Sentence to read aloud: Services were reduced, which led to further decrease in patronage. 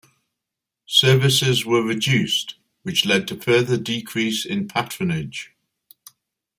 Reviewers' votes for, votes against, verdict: 2, 0, accepted